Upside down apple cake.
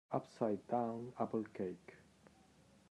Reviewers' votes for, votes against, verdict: 2, 1, accepted